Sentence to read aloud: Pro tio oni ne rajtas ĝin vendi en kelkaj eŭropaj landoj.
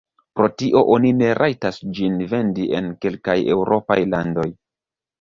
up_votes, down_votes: 0, 2